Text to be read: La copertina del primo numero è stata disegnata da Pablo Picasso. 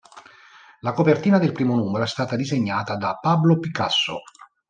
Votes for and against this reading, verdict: 2, 0, accepted